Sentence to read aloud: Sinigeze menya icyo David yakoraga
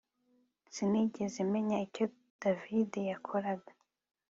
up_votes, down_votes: 2, 0